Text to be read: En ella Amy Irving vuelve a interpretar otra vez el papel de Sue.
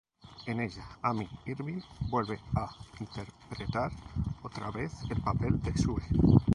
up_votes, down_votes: 0, 2